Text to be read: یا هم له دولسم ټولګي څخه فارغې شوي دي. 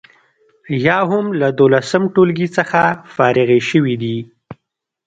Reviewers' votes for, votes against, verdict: 0, 2, rejected